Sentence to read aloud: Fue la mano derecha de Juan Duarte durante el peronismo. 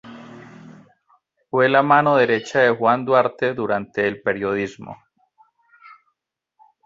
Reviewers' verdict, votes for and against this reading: rejected, 0, 2